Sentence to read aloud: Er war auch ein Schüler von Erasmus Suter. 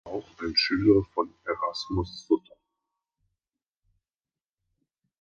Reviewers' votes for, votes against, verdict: 0, 2, rejected